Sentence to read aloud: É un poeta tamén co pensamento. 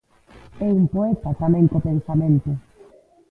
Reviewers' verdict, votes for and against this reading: rejected, 0, 2